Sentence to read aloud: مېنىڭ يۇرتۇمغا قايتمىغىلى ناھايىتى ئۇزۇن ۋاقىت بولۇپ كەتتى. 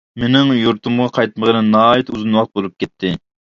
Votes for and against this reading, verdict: 3, 0, accepted